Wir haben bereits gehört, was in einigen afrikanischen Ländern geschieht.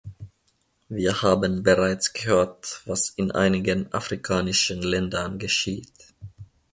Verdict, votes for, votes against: accepted, 2, 0